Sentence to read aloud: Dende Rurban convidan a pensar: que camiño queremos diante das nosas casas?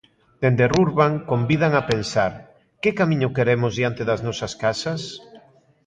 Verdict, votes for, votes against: accepted, 2, 0